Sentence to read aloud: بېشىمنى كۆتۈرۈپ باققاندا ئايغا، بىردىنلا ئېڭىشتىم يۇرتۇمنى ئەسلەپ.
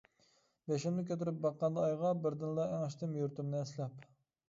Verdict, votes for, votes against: accepted, 2, 0